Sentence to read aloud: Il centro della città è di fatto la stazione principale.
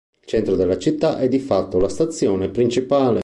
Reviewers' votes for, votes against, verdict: 2, 0, accepted